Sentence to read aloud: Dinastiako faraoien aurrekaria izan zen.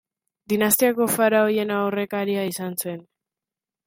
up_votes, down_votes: 3, 1